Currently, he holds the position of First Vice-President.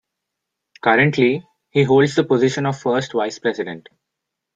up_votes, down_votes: 2, 0